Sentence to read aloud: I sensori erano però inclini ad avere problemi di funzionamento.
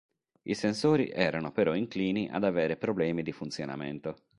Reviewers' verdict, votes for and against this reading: accepted, 2, 0